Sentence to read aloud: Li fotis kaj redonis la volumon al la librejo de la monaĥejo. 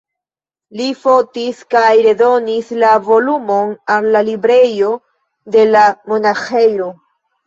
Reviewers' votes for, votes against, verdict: 1, 2, rejected